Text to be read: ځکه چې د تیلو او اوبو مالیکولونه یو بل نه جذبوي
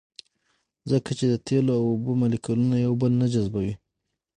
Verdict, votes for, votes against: rejected, 3, 6